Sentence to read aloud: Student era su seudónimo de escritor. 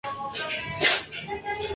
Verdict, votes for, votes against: rejected, 0, 2